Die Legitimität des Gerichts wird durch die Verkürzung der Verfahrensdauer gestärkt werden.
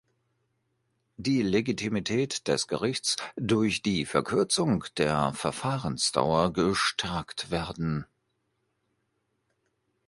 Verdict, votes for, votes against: rejected, 0, 2